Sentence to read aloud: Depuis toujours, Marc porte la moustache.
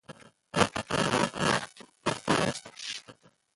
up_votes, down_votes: 0, 2